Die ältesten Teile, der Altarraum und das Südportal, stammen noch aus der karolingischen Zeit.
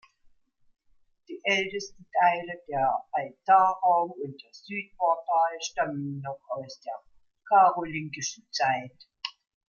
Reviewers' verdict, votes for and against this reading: accepted, 2, 0